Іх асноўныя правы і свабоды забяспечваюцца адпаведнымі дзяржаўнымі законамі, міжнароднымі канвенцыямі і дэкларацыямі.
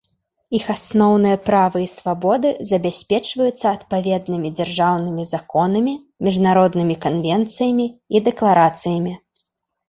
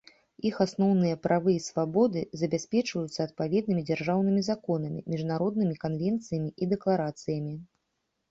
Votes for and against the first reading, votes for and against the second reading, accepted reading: 1, 2, 2, 0, second